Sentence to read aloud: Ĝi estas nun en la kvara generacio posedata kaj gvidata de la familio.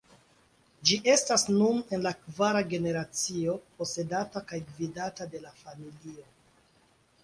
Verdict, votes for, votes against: accepted, 2, 0